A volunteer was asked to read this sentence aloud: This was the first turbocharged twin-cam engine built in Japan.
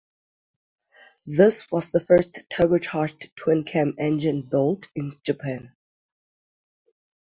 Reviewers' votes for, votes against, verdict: 6, 0, accepted